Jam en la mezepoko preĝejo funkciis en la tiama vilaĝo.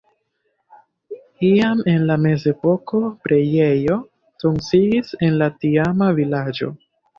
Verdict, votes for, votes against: rejected, 0, 2